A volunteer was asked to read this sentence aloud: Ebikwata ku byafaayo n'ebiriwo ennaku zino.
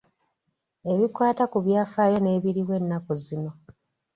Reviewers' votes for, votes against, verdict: 2, 0, accepted